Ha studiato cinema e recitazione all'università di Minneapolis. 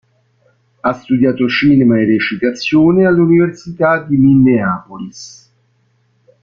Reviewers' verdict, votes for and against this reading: rejected, 1, 2